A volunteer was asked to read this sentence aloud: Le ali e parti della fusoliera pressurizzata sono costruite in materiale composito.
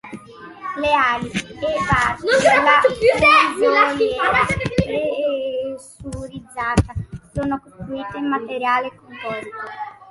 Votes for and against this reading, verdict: 0, 2, rejected